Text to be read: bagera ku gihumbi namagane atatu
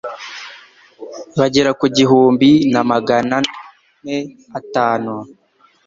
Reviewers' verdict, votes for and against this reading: rejected, 0, 2